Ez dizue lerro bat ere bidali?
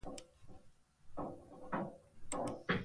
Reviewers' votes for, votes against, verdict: 0, 2, rejected